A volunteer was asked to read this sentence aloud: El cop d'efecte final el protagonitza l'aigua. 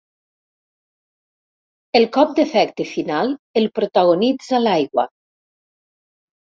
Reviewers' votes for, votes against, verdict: 3, 0, accepted